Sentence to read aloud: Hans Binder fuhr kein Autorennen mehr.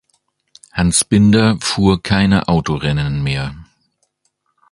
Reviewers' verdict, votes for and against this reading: rejected, 0, 2